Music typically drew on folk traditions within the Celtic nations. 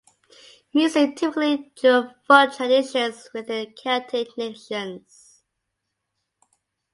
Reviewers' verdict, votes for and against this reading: accepted, 2, 0